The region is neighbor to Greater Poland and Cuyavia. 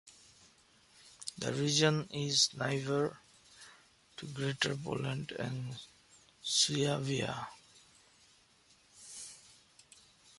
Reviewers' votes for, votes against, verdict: 0, 2, rejected